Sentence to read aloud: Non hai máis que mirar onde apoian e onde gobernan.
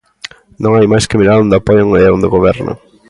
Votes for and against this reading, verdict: 2, 0, accepted